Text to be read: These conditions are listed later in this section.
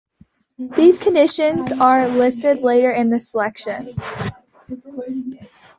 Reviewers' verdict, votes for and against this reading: rejected, 0, 2